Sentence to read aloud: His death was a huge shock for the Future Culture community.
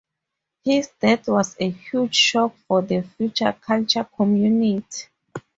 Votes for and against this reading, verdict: 2, 0, accepted